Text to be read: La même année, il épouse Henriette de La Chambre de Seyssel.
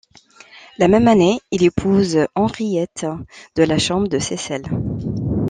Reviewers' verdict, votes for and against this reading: accepted, 2, 1